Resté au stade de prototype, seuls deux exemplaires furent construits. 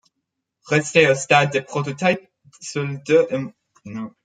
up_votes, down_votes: 1, 2